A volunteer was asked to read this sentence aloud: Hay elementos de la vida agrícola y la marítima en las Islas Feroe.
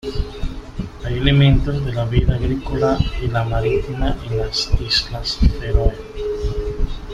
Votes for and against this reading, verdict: 2, 1, accepted